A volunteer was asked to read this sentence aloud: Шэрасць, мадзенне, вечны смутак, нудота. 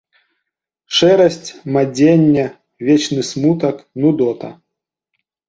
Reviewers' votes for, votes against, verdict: 2, 0, accepted